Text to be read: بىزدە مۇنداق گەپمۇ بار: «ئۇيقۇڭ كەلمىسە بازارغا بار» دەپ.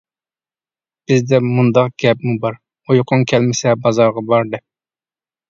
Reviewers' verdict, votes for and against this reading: accepted, 2, 0